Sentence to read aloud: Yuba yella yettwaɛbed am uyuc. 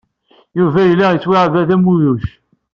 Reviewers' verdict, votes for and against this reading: accepted, 2, 0